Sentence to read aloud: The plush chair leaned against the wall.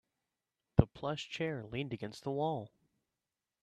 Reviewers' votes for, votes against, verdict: 2, 0, accepted